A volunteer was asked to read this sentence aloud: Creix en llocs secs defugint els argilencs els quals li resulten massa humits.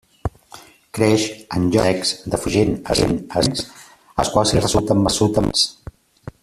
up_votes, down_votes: 0, 2